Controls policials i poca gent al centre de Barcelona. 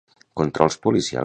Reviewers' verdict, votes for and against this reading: rejected, 0, 2